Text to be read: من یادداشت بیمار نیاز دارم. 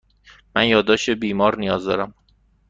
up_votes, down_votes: 2, 0